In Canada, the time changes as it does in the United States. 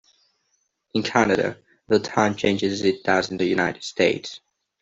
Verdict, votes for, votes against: rejected, 0, 2